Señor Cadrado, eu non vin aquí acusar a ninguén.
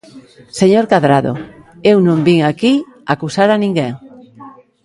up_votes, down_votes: 1, 2